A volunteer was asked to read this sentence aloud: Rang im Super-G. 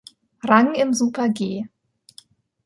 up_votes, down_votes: 2, 0